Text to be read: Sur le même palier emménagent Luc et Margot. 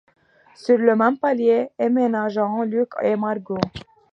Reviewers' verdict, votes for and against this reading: rejected, 1, 2